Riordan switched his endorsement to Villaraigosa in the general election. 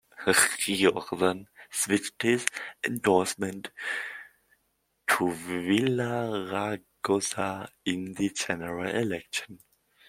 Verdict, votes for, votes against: rejected, 1, 2